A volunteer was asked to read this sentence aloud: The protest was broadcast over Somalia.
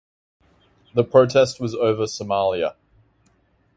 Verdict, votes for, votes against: rejected, 0, 2